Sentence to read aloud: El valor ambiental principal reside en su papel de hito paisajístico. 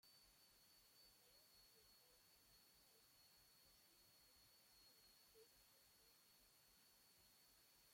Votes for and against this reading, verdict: 0, 2, rejected